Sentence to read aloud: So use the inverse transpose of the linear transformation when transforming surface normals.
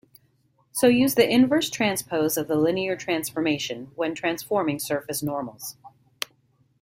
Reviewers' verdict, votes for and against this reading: accepted, 2, 0